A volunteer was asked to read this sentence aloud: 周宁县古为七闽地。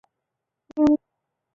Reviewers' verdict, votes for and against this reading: rejected, 0, 3